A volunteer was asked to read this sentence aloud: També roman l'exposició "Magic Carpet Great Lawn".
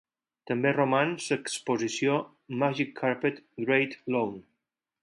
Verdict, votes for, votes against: rejected, 2, 6